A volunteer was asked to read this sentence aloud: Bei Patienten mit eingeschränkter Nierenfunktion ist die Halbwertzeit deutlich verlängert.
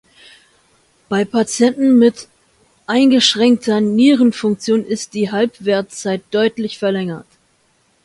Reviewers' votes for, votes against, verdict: 2, 0, accepted